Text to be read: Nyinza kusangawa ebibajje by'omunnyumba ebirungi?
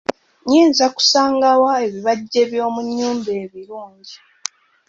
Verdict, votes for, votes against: accepted, 2, 0